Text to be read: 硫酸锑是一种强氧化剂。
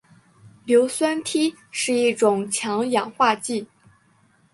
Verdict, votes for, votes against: accepted, 3, 1